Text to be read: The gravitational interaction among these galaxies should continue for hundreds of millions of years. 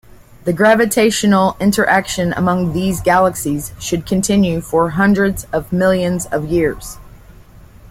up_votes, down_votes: 2, 1